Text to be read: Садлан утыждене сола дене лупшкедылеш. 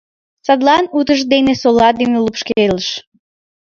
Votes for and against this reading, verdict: 1, 2, rejected